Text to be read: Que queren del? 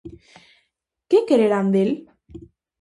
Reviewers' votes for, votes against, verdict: 0, 2, rejected